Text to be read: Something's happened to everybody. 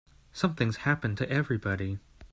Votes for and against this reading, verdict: 3, 0, accepted